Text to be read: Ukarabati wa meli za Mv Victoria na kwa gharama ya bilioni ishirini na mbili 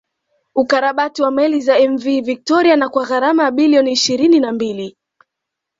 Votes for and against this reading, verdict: 2, 1, accepted